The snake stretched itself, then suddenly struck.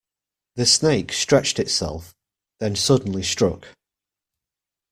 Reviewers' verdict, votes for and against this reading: accepted, 2, 0